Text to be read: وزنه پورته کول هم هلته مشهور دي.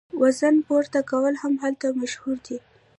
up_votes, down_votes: 1, 2